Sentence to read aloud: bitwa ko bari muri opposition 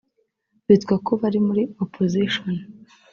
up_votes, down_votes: 2, 0